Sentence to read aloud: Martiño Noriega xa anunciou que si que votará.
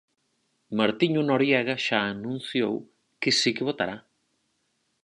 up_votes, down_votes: 4, 0